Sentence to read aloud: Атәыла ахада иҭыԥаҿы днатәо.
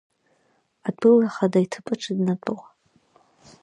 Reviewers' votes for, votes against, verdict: 2, 0, accepted